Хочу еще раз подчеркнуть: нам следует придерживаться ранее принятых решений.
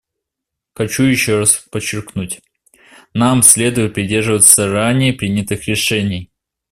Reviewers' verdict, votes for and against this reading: accepted, 2, 0